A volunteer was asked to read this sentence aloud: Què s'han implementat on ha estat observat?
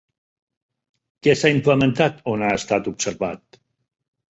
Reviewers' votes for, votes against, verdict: 1, 3, rejected